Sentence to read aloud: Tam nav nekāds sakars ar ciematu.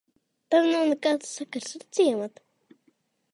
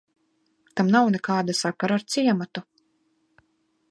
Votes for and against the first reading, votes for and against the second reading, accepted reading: 2, 1, 1, 2, first